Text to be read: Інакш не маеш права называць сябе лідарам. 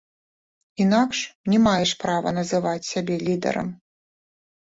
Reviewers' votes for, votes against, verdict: 2, 0, accepted